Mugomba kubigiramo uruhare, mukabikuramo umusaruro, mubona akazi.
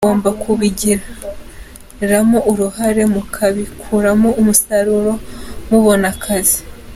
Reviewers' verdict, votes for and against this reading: accepted, 3, 1